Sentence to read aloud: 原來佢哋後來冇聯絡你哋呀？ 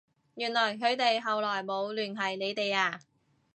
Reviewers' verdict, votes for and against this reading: rejected, 2, 2